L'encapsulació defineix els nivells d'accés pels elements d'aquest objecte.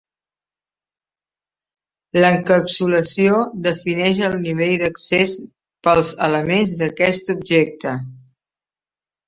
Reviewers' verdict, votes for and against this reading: rejected, 0, 3